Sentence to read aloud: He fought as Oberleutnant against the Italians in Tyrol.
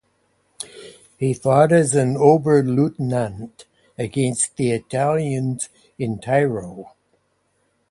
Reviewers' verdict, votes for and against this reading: accepted, 2, 0